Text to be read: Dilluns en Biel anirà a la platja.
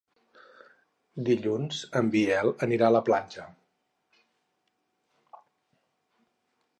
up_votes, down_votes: 6, 0